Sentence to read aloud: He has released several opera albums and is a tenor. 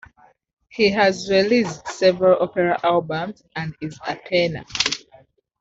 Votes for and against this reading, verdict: 2, 0, accepted